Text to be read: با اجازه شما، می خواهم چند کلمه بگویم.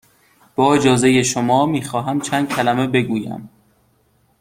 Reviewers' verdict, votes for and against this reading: accepted, 2, 0